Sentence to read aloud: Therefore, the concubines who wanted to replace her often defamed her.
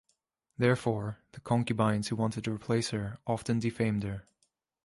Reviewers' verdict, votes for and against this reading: accepted, 2, 0